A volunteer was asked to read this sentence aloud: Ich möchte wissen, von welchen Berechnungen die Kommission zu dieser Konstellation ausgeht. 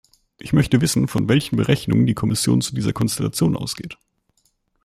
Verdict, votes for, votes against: accepted, 2, 0